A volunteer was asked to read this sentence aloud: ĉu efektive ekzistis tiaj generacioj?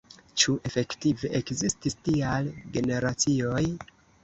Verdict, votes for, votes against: accepted, 2, 1